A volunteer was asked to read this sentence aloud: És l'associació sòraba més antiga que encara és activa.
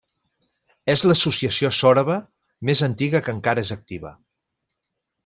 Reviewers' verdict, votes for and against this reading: accepted, 3, 0